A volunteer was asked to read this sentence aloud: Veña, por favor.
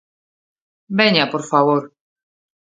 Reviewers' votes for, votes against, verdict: 3, 0, accepted